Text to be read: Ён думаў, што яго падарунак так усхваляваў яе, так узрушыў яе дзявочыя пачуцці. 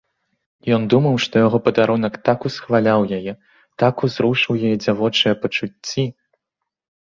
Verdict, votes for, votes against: rejected, 1, 2